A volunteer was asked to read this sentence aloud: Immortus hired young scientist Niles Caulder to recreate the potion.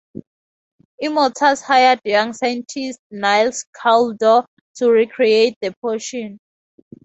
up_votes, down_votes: 2, 0